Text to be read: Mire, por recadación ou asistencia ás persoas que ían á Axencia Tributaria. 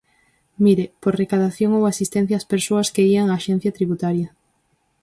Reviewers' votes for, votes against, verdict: 4, 0, accepted